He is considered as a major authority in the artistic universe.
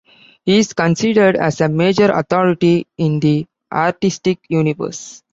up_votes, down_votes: 2, 0